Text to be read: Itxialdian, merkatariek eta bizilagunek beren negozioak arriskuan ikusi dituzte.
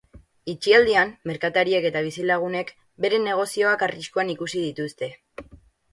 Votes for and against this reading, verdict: 8, 0, accepted